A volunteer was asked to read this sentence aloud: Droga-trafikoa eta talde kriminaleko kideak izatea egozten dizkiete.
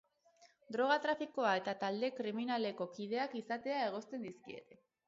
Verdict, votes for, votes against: rejected, 2, 2